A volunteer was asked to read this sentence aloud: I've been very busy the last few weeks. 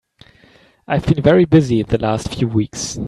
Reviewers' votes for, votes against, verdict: 2, 0, accepted